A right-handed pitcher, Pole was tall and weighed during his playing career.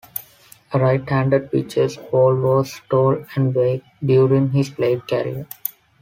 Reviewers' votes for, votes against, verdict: 0, 2, rejected